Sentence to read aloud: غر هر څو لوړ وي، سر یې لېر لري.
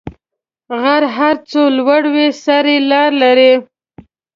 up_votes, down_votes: 0, 2